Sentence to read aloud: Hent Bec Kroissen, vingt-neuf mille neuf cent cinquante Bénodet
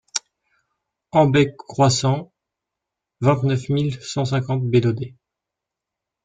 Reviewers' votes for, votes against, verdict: 1, 2, rejected